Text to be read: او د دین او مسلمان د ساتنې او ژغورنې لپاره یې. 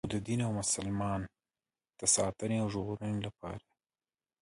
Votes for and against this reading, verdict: 3, 0, accepted